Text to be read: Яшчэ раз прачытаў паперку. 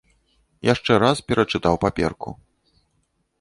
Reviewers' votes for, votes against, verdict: 0, 2, rejected